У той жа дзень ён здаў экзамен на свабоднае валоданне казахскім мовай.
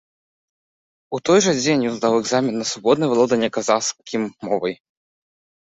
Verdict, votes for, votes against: accepted, 2, 1